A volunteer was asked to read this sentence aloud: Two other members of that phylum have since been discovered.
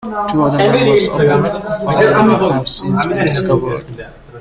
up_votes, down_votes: 1, 2